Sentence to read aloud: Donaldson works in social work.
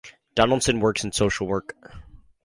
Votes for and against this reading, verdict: 2, 0, accepted